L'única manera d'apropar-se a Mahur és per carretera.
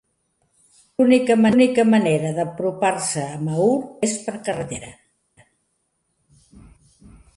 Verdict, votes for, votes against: rejected, 0, 2